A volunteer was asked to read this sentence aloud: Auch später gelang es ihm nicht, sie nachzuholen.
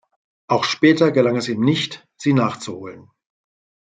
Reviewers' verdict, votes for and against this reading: accepted, 2, 0